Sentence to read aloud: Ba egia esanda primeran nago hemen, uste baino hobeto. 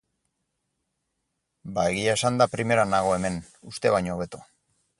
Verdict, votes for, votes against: accepted, 4, 0